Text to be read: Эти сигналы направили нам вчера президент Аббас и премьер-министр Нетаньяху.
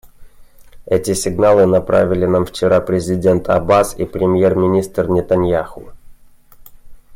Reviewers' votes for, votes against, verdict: 2, 0, accepted